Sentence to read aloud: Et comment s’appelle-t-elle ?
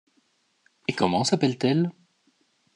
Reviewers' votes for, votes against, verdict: 2, 0, accepted